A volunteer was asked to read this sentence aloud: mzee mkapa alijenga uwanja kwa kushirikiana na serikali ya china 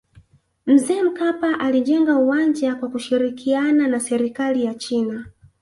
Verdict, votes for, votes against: accepted, 3, 1